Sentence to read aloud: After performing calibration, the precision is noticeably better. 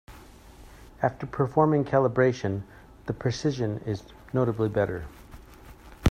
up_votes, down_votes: 1, 2